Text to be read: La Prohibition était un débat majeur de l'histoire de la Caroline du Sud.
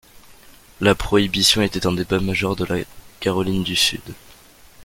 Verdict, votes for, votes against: rejected, 0, 2